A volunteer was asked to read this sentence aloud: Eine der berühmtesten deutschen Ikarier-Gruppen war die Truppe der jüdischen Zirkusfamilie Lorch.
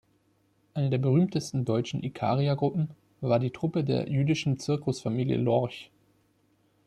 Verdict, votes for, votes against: accepted, 2, 1